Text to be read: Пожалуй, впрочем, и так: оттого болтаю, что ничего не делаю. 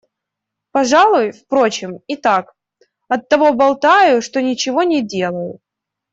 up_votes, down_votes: 2, 0